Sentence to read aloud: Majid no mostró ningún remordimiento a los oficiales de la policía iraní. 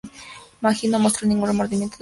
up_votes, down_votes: 0, 4